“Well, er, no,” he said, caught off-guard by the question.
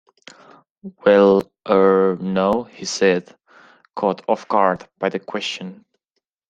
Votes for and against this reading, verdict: 2, 0, accepted